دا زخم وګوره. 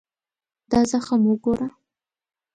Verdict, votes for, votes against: accepted, 2, 0